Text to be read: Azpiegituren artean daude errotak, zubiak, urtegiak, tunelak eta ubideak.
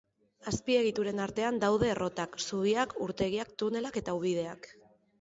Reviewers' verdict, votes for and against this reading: accepted, 3, 0